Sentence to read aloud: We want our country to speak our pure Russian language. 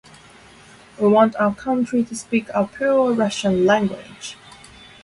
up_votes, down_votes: 2, 0